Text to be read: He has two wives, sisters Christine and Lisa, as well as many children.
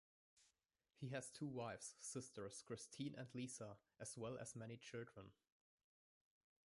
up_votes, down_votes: 1, 2